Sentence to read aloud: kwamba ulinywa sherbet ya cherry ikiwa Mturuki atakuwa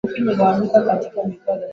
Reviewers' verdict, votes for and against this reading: rejected, 0, 2